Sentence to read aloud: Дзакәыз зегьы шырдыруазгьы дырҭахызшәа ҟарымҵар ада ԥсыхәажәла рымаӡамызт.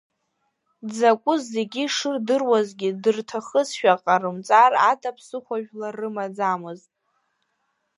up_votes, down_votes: 2, 0